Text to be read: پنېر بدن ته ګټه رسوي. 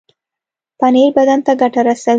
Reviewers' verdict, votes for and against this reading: accepted, 2, 0